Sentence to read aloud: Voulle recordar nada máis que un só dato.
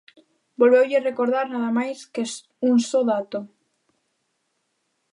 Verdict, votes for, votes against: rejected, 0, 2